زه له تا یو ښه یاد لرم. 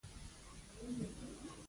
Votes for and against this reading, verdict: 0, 2, rejected